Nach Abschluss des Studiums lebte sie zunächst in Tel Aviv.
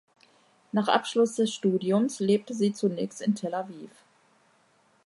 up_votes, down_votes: 2, 0